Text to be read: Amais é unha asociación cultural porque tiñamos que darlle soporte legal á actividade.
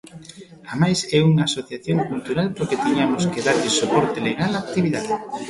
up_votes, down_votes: 1, 2